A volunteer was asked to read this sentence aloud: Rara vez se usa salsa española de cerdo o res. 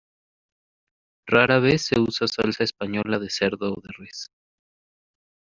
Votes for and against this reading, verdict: 2, 0, accepted